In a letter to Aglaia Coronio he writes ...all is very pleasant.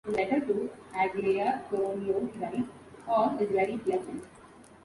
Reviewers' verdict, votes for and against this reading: rejected, 0, 2